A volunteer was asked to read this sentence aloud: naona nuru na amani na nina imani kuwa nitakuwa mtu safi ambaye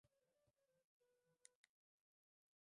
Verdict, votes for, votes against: rejected, 0, 2